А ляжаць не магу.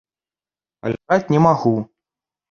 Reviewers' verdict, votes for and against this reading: rejected, 0, 2